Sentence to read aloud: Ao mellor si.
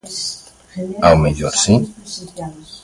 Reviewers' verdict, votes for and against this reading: rejected, 0, 2